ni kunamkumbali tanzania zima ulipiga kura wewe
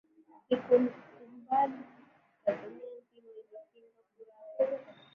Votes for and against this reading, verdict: 0, 2, rejected